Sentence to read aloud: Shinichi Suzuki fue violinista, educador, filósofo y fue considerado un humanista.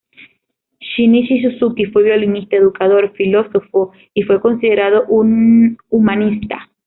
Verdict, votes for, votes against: rejected, 1, 2